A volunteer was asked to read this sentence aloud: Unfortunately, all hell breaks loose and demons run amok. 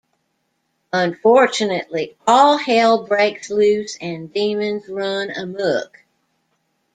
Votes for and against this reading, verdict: 2, 0, accepted